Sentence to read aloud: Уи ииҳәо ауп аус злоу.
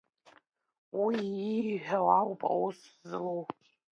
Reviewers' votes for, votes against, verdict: 2, 0, accepted